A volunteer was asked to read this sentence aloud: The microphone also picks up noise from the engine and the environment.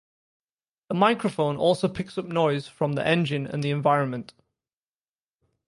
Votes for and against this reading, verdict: 2, 0, accepted